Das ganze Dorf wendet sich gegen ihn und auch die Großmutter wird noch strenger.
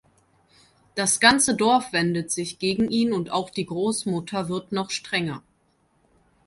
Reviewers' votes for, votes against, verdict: 2, 0, accepted